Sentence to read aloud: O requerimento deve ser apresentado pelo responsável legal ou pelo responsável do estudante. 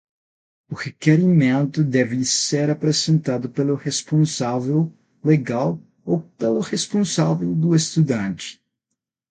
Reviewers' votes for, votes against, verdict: 0, 6, rejected